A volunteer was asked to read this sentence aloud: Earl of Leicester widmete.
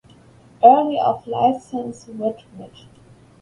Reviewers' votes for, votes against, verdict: 0, 2, rejected